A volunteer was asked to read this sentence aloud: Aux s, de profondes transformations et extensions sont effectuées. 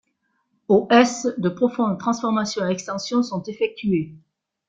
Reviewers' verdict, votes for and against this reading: rejected, 0, 2